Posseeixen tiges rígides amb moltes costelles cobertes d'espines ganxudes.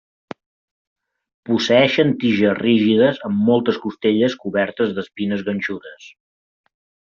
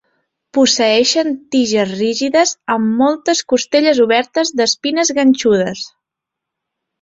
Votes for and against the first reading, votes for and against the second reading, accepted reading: 2, 0, 0, 2, first